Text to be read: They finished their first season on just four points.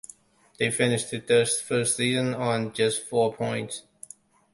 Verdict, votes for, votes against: accepted, 2, 1